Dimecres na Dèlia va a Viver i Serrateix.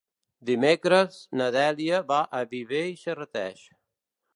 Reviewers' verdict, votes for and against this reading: accepted, 2, 0